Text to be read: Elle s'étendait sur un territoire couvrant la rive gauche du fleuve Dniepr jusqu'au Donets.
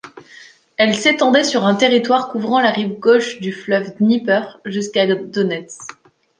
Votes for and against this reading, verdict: 1, 2, rejected